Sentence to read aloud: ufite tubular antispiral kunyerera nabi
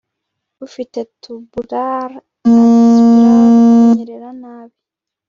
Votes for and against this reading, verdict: 1, 2, rejected